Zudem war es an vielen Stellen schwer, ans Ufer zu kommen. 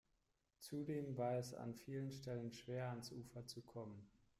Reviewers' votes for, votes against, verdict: 2, 0, accepted